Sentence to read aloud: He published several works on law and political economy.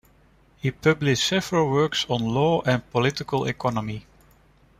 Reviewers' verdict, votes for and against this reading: accepted, 2, 0